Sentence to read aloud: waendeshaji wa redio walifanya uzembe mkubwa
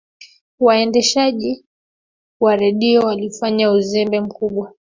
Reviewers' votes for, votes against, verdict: 3, 1, accepted